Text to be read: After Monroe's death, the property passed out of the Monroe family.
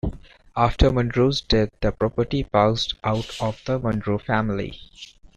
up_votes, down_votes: 1, 2